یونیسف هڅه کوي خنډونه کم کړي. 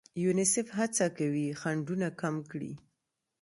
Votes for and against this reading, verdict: 2, 0, accepted